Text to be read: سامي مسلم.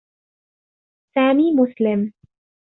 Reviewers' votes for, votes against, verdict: 2, 0, accepted